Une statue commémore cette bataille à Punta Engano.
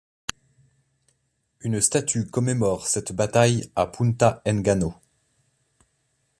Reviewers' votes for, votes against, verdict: 2, 0, accepted